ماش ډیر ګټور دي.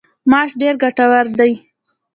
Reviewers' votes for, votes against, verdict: 1, 2, rejected